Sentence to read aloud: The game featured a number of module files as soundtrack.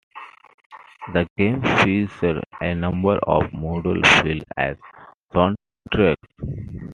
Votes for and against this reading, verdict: 1, 2, rejected